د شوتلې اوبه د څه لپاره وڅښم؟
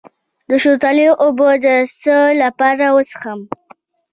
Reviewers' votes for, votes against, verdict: 2, 0, accepted